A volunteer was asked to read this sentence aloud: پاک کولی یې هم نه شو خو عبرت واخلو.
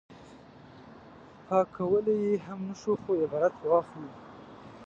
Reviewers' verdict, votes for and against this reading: rejected, 1, 2